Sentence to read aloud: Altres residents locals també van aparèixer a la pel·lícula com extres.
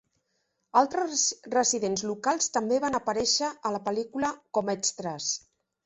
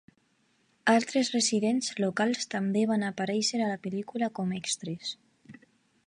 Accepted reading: second